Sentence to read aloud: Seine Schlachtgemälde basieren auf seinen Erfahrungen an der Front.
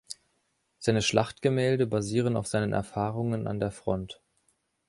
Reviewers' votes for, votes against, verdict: 2, 0, accepted